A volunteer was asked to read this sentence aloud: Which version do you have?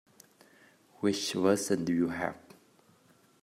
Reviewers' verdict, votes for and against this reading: rejected, 1, 2